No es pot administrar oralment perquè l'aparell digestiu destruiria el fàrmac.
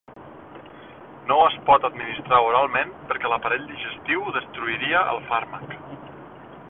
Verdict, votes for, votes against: rejected, 0, 2